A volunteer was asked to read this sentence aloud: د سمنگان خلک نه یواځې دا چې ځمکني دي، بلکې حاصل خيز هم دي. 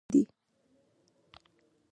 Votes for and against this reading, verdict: 0, 2, rejected